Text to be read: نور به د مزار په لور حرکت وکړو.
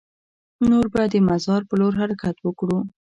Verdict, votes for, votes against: accepted, 2, 1